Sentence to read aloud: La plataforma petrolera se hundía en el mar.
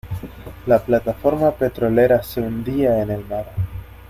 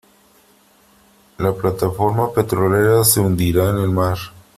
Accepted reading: first